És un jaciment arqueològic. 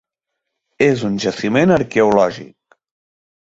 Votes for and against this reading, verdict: 4, 0, accepted